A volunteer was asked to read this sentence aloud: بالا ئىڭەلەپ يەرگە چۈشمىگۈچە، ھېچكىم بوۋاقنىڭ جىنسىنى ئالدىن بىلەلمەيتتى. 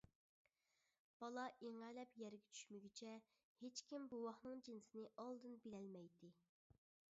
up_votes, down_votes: 3, 0